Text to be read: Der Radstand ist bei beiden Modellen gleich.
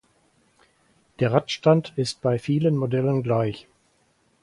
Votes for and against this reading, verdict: 0, 4, rejected